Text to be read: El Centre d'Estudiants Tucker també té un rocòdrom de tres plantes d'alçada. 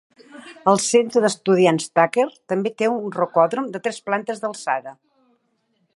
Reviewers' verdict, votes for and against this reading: accepted, 2, 0